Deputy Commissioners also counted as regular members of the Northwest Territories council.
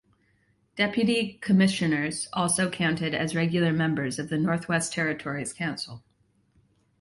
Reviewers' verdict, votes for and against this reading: accepted, 2, 0